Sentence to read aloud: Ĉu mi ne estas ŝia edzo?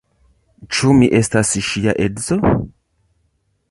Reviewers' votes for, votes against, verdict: 3, 2, accepted